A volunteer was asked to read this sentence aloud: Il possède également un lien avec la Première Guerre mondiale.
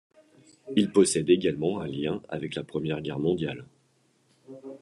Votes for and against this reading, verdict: 2, 0, accepted